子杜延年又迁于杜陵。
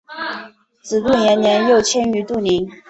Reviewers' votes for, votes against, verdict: 4, 0, accepted